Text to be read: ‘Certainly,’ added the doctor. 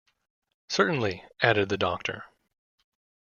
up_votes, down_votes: 2, 0